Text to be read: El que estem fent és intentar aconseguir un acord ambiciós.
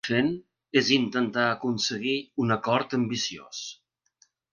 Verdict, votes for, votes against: rejected, 0, 2